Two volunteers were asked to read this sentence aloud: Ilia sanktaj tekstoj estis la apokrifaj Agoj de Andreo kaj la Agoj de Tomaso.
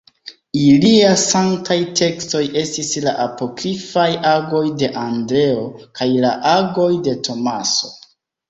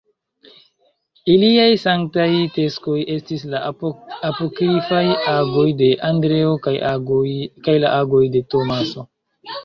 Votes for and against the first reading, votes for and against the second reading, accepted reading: 2, 0, 1, 3, first